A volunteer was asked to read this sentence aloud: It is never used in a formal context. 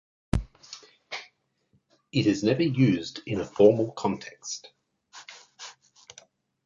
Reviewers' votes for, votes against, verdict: 2, 0, accepted